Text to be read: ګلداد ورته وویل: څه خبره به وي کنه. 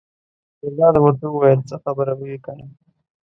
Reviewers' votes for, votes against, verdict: 2, 0, accepted